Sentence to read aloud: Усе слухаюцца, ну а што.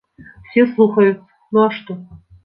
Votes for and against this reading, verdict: 1, 2, rejected